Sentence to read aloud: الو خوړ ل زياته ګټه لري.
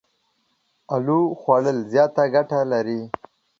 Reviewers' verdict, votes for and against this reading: accepted, 2, 0